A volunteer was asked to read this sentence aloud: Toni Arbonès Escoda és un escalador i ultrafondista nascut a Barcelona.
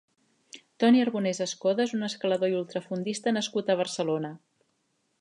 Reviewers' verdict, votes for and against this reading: accepted, 3, 0